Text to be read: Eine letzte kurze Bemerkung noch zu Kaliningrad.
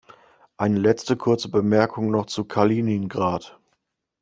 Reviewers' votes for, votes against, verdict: 2, 0, accepted